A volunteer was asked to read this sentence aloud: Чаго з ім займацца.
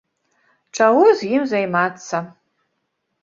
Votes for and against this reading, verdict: 2, 0, accepted